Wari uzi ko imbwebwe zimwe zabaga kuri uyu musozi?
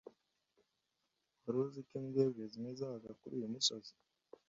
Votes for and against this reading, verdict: 1, 2, rejected